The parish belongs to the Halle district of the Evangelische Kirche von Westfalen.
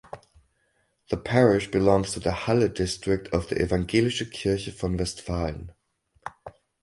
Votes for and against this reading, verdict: 4, 0, accepted